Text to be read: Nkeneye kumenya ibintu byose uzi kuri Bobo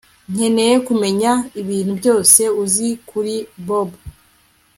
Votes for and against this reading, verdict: 2, 0, accepted